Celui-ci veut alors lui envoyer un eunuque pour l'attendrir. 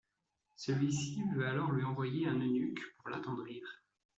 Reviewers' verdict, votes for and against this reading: rejected, 1, 2